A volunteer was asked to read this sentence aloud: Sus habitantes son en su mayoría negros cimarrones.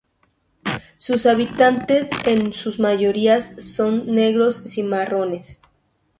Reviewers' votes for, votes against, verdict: 0, 2, rejected